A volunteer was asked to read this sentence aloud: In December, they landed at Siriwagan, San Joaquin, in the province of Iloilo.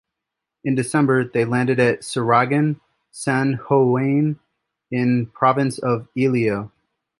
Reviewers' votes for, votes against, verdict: 0, 3, rejected